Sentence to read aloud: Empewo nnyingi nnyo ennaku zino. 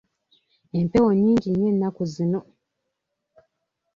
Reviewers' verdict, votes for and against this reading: accepted, 2, 0